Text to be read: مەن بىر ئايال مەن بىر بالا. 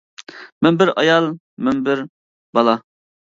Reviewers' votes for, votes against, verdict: 2, 0, accepted